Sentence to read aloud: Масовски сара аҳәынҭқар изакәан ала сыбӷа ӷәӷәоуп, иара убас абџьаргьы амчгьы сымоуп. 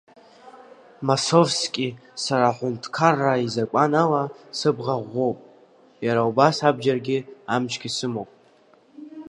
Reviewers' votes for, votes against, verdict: 2, 0, accepted